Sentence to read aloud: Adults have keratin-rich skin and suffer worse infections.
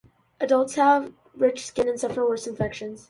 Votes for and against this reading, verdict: 0, 2, rejected